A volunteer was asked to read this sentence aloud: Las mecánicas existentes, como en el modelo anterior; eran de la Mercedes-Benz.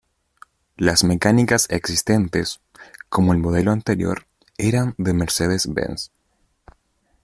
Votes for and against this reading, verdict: 0, 2, rejected